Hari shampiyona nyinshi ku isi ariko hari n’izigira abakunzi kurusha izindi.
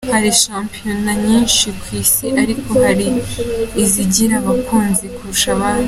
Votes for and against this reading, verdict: 2, 1, accepted